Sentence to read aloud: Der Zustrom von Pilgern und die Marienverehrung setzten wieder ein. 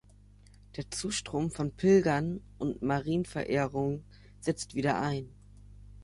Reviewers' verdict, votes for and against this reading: rejected, 0, 2